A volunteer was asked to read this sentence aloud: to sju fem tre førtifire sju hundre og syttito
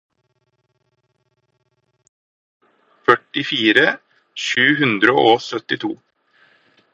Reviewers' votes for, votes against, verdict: 0, 4, rejected